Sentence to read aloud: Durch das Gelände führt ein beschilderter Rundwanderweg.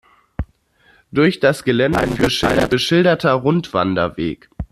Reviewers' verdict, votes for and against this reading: rejected, 0, 2